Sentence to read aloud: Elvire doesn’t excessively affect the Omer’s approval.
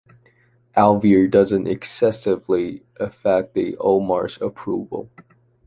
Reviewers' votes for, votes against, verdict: 2, 1, accepted